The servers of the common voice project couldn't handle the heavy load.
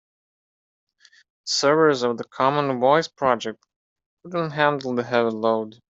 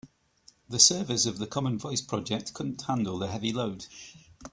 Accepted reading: second